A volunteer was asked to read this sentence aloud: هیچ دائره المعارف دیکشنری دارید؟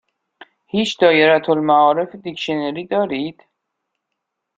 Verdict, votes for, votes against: accepted, 2, 0